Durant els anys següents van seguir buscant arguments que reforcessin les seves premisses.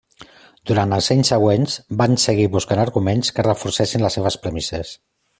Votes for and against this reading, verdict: 3, 0, accepted